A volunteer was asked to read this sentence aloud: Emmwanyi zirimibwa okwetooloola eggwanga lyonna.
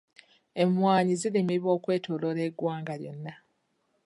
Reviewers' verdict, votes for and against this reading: accepted, 3, 0